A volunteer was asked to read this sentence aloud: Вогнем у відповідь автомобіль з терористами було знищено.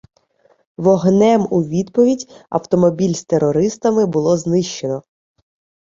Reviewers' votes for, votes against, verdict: 2, 0, accepted